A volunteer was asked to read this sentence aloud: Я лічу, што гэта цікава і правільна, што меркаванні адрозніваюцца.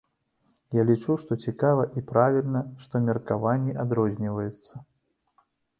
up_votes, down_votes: 1, 2